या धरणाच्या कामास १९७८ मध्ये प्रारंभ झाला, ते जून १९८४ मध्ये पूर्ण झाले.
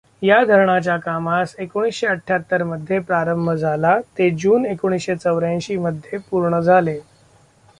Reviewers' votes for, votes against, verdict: 0, 2, rejected